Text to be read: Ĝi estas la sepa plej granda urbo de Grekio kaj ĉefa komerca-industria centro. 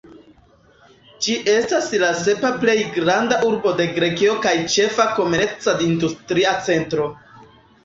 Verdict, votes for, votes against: rejected, 0, 2